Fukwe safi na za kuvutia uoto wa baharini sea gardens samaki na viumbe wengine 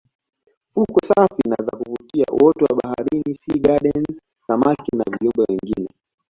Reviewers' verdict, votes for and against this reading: accepted, 2, 0